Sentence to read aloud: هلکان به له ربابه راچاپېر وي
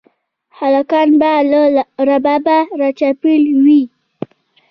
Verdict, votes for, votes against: accepted, 2, 1